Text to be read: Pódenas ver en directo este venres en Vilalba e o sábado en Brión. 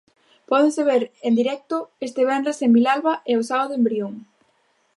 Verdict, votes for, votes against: rejected, 0, 2